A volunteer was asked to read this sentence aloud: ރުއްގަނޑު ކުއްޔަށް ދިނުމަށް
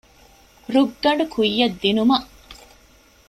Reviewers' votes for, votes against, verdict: 2, 0, accepted